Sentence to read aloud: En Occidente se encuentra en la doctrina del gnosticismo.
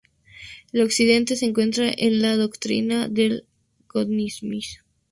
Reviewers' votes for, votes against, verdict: 0, 2, rejected